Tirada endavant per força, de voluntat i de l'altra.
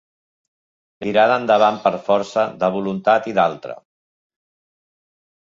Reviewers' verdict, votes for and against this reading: rejected, 0, 2